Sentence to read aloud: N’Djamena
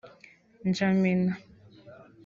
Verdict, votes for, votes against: accepted, 2, 0